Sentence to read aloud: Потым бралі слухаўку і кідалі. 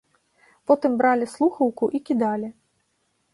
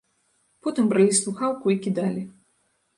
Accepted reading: first